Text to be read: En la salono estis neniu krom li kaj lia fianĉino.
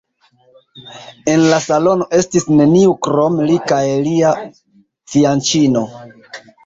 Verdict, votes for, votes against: rejected, 2, 3